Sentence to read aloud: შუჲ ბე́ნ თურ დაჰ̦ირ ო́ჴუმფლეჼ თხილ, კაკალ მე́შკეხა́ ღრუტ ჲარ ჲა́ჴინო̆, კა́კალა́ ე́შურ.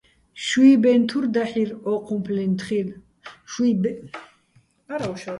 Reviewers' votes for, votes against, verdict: 0, 2, rejected